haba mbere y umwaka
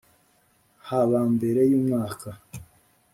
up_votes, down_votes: 2, 0